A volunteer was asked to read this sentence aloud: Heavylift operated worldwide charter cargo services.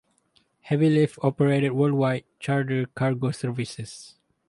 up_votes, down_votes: 4, 0